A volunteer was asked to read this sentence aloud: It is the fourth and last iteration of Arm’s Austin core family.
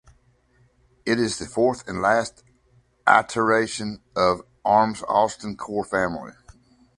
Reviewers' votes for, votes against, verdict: 1, 2, rejected